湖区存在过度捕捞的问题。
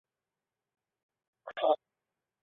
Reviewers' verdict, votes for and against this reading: rejected, 1, 2